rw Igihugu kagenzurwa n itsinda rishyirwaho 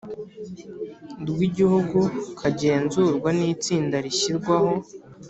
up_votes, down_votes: 3, 0